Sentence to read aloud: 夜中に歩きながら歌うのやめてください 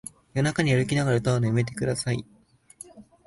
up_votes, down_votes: 2, 0